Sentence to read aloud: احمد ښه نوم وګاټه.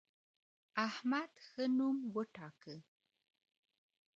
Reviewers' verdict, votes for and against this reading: rejected, 1, 2